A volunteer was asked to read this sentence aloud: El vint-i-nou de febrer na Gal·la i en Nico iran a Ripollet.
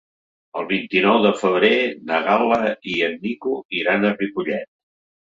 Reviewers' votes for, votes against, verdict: 3, 0, accepted